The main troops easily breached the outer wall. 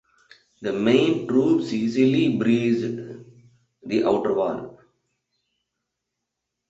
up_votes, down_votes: 1, 2